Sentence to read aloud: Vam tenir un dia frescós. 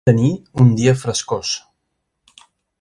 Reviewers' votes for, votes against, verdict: 1, 2, rejected